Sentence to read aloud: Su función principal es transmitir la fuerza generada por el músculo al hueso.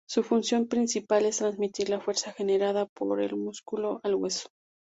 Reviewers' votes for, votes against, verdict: 2, 2, rejected